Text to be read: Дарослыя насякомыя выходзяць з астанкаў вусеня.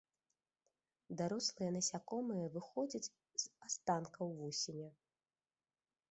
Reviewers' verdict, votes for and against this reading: rejected, 1, 2